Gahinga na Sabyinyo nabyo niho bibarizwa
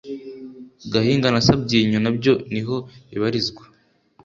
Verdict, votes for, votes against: accepted, 2, 0